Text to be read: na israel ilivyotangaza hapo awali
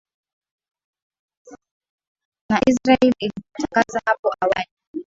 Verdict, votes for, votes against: rejected, 0, 2